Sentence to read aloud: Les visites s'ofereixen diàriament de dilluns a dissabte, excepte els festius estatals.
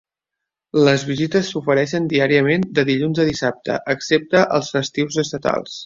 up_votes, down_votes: 3, 0